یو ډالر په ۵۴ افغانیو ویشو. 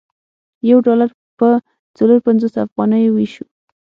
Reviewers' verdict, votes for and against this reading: rejected, 0, 2